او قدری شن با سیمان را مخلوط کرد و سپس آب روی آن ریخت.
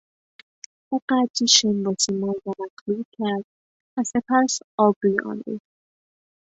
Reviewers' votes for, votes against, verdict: 2, 0, accepted